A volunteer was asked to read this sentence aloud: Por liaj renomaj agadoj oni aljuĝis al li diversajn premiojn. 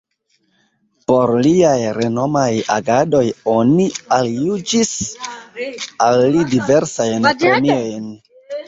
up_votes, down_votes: 0, 2